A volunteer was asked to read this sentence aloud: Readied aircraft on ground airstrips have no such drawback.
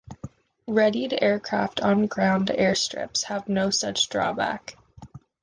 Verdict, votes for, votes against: accepted, 2, 0